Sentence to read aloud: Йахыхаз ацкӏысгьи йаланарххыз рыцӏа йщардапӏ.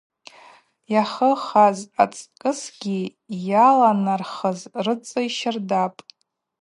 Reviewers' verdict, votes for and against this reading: rejected, 0, 2